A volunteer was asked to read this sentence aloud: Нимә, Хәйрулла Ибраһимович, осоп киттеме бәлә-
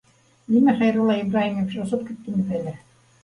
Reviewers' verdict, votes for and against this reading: accepted, 2, 0